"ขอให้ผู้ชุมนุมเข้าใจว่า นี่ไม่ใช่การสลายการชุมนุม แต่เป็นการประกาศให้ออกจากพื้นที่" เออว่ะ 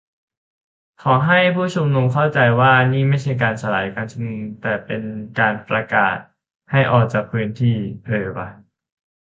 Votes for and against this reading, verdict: 2, 0, accepted